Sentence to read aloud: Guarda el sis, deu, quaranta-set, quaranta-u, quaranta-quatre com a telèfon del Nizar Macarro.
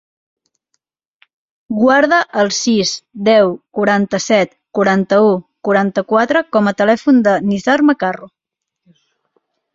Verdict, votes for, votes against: rejected, 0, 2